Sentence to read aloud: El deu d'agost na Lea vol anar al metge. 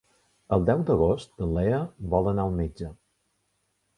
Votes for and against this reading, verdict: 0, 2, rejected